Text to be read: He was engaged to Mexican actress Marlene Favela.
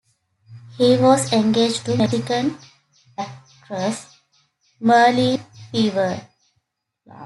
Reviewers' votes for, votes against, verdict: 0, 2, rejected